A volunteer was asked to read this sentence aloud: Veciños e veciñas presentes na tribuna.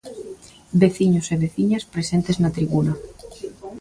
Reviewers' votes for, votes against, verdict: 2, 0, accepted